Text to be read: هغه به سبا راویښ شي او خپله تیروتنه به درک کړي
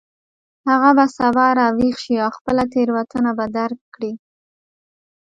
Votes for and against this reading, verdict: 1, 2, rejected